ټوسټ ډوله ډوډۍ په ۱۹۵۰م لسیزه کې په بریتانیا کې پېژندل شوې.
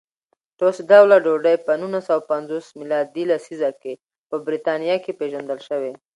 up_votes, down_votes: 0, 2